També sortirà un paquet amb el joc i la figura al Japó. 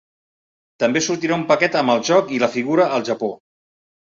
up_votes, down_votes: 3, 0